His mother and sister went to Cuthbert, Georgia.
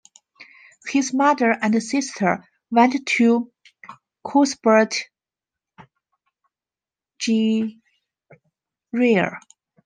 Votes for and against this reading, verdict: 0, 2, rejected